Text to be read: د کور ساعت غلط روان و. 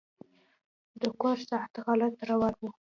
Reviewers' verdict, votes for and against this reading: accepted, 2, 0